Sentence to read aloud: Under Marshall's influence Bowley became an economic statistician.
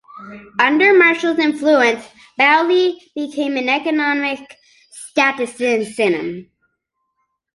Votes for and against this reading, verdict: 0, 2, rejected